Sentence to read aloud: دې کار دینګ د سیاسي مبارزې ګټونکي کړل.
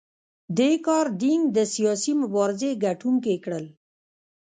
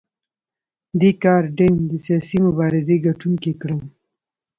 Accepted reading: second